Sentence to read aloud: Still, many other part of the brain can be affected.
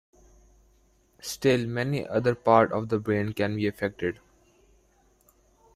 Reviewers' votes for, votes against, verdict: 2, 0, accepted